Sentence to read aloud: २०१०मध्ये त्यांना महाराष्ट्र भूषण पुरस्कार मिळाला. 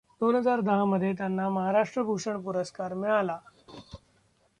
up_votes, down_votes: 0, 2